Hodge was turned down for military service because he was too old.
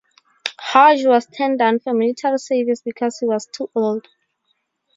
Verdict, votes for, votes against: rejected, 0, 2